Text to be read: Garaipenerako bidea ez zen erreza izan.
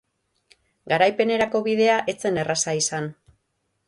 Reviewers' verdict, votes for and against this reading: rejected, 0, 3